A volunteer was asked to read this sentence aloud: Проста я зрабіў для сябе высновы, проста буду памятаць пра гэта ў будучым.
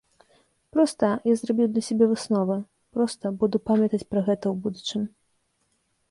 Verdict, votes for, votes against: accepted, 2, 0